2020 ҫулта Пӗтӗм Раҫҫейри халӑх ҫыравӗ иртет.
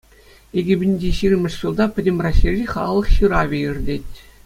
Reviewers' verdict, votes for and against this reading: rejected, 0, 2